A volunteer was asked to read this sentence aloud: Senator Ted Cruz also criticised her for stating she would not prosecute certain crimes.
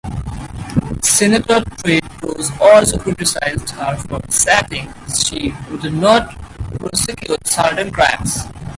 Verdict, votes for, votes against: rejected, 2, 4